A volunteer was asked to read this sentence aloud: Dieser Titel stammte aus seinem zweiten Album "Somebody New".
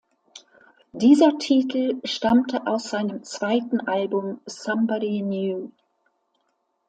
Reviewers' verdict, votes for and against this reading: accepted, 2, 0